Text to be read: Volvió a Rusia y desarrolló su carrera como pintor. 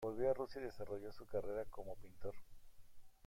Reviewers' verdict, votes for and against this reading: rejected, 0, 2